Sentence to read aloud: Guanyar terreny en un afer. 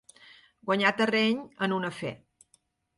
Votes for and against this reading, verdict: 2, 0, accepted